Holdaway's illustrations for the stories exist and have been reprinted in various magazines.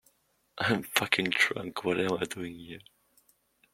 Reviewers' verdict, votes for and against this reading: rejected, 0, 2